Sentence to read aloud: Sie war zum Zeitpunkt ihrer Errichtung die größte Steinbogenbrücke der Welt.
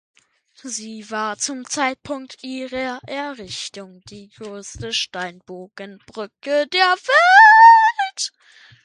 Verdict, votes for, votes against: accepted, 2, 0